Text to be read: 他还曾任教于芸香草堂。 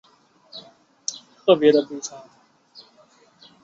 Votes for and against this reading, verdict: 0, 2, rejected